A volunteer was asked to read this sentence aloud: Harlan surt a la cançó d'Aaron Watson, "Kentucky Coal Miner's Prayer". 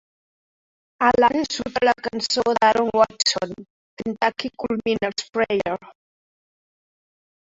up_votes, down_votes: 0, 3